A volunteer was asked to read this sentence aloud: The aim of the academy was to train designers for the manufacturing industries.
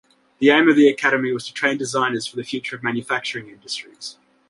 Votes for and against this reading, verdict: 0, 2, rejected